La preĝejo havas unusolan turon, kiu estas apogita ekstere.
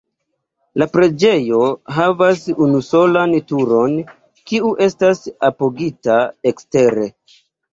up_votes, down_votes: 0, 2